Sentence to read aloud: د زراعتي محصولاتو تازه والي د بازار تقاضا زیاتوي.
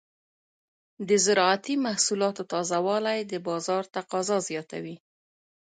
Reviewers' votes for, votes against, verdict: 2, 1, accepted